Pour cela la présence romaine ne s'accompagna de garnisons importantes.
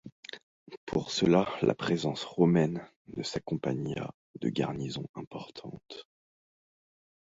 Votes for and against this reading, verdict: 2, 1, accepted